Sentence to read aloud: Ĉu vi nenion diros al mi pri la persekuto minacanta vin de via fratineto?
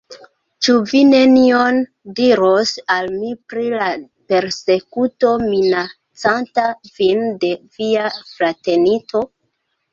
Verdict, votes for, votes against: rejected, 0, 2